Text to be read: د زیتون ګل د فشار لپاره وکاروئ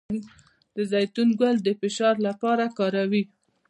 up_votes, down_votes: 1, 2